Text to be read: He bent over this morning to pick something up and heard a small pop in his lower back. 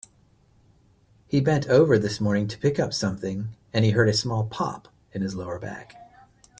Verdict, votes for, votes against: rejected, 1, 2